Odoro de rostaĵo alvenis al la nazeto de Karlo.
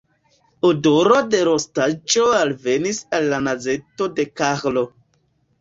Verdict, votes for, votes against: rejected, 0, 2